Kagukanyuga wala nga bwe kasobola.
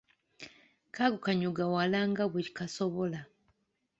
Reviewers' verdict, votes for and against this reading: accepted, 2, 0